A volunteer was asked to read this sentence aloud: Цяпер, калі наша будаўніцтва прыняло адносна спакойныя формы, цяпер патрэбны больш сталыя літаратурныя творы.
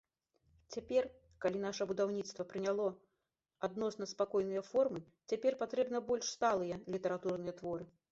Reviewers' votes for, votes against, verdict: 2, 0, accepted